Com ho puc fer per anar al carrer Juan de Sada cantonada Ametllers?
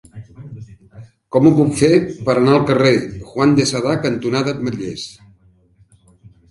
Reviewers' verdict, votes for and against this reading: rejected, 1, 2